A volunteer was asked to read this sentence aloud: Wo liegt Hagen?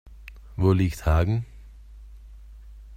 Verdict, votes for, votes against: rejected, 1, 2